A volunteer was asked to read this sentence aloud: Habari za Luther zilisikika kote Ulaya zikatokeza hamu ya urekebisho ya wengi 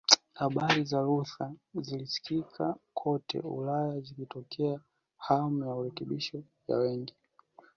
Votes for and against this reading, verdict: 2, 1, accepted